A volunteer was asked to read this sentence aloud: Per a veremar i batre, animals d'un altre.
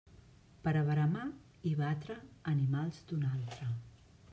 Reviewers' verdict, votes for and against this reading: accepted, 2, 0